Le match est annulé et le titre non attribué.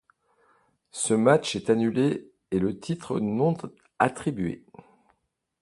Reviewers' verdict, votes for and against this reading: rejected, 1, 2